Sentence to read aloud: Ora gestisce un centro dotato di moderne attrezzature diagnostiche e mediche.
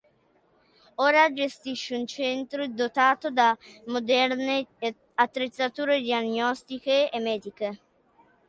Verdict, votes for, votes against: rejected, 0, 2